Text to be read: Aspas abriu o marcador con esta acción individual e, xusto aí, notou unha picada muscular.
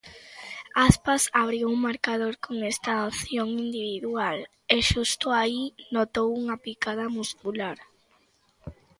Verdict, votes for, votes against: accepted, 2, 1